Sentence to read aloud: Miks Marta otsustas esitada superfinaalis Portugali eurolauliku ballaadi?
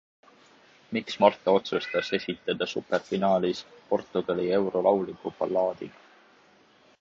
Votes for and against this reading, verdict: 2, 0, accepted